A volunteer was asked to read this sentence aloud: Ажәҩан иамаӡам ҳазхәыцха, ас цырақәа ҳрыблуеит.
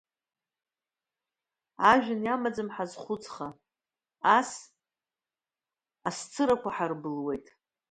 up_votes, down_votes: 0, 2